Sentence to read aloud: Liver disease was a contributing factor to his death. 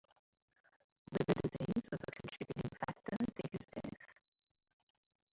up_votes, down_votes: 1, 2